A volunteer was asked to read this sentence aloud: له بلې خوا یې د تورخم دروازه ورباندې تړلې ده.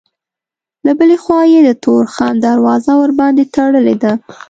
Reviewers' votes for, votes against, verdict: 2, 0, accepted